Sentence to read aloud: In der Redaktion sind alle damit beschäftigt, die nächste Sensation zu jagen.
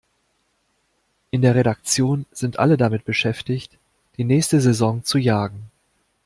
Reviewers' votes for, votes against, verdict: 1, 2, rejected